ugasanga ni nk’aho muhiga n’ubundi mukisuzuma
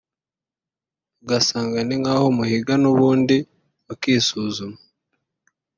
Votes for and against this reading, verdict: 1, 2, rejected